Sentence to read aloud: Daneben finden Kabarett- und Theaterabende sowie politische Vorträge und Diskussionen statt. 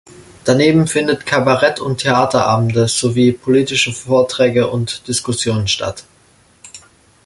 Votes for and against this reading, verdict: 0, 2, rejected